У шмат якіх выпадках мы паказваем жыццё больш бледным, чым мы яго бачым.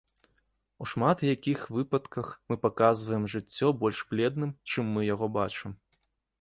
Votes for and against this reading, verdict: 1, 2, rejected